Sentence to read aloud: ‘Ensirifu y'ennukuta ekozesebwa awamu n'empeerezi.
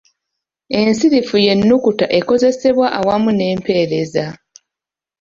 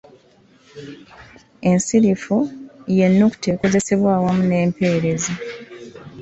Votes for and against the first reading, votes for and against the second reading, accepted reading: 1, 2, 2, 0, second